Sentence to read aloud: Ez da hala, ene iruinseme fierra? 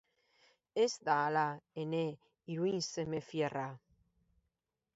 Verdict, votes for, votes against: accepted, 2, 0